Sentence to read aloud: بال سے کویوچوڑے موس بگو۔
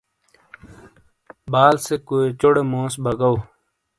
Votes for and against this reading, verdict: 2, 0, accepted